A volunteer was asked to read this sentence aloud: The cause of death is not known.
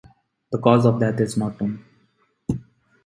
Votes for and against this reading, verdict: 0, 2, rejected